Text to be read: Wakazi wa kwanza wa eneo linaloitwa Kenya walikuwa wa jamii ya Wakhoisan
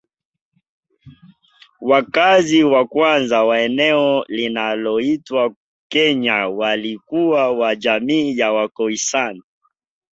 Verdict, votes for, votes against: accepted, 3, 1